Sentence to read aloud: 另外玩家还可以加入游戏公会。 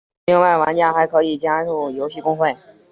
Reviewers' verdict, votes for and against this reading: accepted, 6, 0